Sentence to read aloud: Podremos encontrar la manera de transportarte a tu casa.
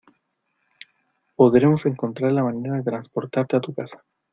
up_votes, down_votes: 2, 0